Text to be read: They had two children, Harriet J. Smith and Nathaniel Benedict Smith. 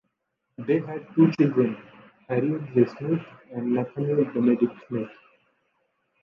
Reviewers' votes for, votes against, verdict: 1, 2, rejected